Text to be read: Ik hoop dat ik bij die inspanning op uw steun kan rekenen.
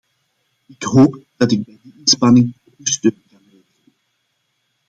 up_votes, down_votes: 0, 2